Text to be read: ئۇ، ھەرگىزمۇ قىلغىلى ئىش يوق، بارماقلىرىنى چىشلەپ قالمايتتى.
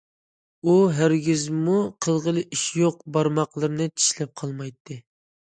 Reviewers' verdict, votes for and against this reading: accepted, 2, 0